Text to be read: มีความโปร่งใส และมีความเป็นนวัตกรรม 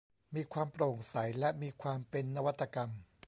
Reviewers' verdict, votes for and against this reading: accepted, 2, 0